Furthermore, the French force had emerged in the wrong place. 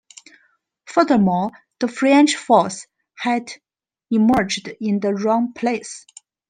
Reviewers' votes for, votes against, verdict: 2, 0, accepted